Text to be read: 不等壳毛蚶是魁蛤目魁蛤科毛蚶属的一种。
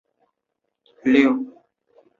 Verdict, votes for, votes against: rejected, 0, 2